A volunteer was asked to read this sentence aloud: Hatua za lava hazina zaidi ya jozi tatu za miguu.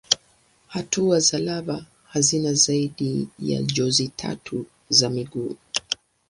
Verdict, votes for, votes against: accepted, 7, 3